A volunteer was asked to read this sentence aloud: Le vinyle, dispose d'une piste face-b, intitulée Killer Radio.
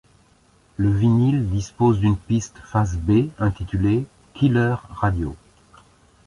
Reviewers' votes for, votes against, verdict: 2, 0, accepted